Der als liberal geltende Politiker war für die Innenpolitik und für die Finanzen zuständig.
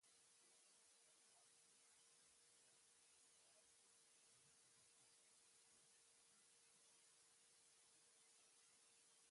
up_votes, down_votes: 0, 2